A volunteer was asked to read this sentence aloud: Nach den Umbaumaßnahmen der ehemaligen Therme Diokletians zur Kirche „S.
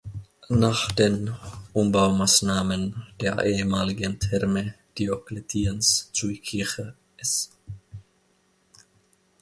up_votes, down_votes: 1, 2